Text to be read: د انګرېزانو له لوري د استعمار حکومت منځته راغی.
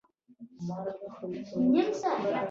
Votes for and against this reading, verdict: 0, 2, rejected